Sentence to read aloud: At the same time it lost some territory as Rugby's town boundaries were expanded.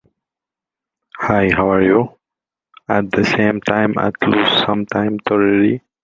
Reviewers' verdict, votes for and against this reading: rejected, 0, 2